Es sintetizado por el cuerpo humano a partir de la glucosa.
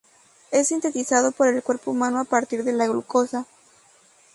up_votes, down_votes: 2, 0